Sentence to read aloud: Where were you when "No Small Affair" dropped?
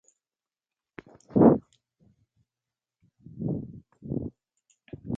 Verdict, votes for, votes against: rejected, 0, 2